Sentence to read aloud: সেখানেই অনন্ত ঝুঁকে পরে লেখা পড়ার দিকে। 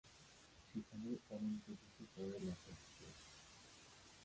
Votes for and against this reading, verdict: 0, 2, rejected